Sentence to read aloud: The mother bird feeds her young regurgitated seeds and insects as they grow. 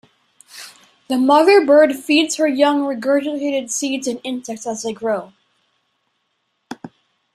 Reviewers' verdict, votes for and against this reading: rejected, 1, 2